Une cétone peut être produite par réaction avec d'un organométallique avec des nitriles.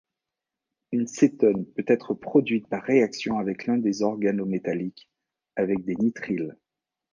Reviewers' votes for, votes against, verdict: 0, 2, rejected